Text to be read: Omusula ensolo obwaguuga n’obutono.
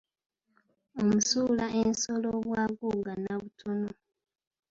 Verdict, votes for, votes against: rejected, 1, 2